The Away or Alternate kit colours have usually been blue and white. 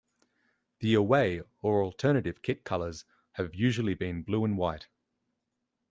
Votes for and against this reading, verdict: 1, 2, rejected